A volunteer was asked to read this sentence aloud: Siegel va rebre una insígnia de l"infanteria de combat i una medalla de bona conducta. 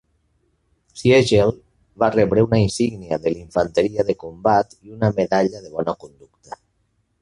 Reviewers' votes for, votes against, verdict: 2, 0, accepted